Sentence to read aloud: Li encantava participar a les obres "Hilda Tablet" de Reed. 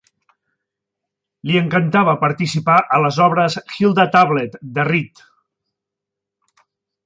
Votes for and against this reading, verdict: 4, 0, accepted